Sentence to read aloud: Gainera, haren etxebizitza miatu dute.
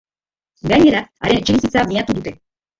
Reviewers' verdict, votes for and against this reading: accepted, 2, 1